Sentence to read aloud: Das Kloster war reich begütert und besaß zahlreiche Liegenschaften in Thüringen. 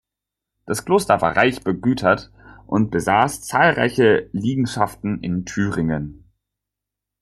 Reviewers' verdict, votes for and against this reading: accepted, 2, 0